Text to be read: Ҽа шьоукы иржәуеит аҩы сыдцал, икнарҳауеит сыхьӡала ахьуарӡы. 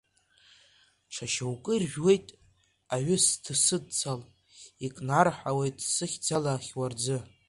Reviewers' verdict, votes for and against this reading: rejected, 1, 2